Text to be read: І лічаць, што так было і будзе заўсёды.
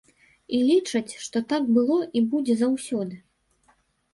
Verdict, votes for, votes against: accepted, 2, 0